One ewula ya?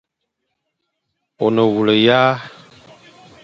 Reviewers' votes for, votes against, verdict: 1, 2, rejected